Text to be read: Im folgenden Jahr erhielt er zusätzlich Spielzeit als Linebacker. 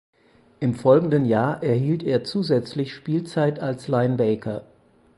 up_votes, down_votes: 0, 4